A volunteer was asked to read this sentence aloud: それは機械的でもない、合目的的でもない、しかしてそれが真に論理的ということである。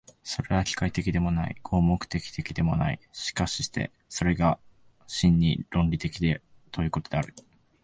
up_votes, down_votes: 2, 1